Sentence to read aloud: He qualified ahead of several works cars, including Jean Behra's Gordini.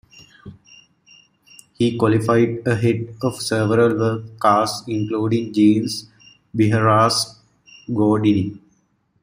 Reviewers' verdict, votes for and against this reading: rejected, 0, 2